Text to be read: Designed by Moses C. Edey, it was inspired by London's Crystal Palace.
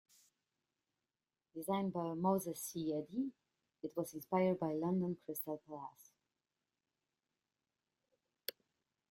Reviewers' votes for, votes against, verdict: 2, 0, accepted